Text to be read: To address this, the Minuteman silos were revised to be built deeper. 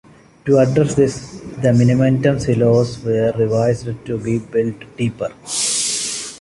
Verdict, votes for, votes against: rejected, 0, 2